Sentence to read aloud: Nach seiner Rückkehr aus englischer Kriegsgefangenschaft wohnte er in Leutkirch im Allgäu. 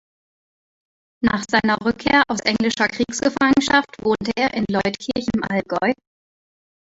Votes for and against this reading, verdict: 2, 0, accepted